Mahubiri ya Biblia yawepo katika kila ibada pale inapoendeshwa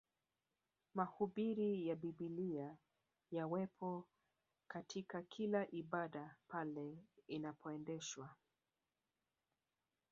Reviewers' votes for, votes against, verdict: 1, 2, rejected